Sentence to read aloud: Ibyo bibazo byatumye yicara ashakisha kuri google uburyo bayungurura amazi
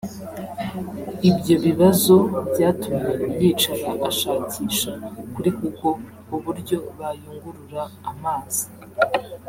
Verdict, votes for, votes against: accepted, 2, 0